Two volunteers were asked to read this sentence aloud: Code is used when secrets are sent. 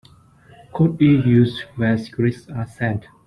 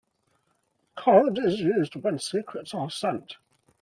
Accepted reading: second